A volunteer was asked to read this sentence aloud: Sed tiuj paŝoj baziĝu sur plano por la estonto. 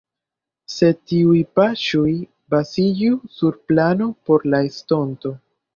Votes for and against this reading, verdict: 1, 2, rejected